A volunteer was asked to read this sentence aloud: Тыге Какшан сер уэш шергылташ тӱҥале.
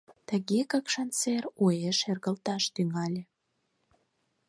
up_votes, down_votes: 4, 0